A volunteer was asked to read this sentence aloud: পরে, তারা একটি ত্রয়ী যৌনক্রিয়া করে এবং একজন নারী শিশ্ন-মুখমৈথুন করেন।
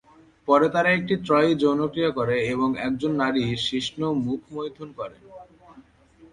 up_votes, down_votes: 2, 4